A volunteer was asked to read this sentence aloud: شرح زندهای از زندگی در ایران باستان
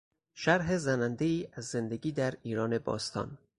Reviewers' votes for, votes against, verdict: 0, 4, rejected